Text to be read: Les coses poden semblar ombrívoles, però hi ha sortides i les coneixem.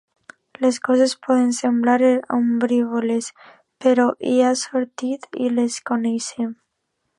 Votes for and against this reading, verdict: 1, 2, rejected